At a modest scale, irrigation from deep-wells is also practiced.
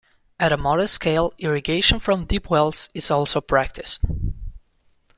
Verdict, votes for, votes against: accepted, 2, 0